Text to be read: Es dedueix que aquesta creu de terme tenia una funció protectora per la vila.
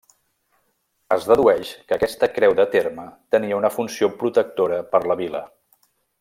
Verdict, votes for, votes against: accepted, 3, 0